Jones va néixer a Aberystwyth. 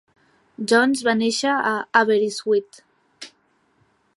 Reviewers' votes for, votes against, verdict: 2, 0, accepted